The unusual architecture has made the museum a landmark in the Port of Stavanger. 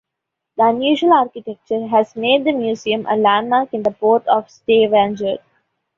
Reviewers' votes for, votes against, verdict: 2, 0, accepted